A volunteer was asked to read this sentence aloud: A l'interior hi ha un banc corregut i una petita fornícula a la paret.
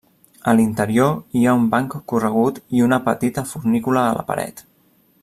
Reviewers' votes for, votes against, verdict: 3, 0, accepted